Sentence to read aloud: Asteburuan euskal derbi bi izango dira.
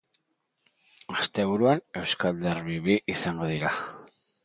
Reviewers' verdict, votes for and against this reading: accepted, 3, 0